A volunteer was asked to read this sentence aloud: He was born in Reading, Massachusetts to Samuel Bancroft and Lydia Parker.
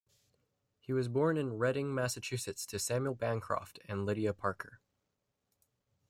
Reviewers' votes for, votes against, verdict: 2, 0, accepted